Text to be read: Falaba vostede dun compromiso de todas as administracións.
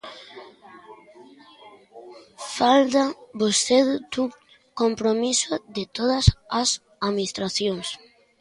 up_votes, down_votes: 0, 2